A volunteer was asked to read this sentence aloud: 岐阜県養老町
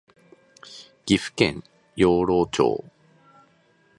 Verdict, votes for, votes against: accepted, 2, 0